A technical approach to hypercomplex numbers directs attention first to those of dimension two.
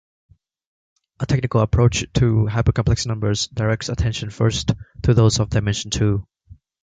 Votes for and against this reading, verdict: 2, 0, accepted